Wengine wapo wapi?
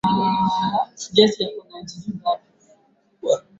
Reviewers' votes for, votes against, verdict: 0, 3, rejected